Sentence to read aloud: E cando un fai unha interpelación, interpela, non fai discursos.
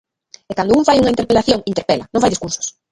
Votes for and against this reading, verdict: 0, 2, rejected